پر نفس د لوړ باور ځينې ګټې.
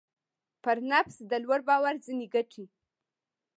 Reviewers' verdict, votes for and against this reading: accepted, 2, 0